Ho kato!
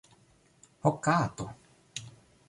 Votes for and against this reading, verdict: 1, 2, rejected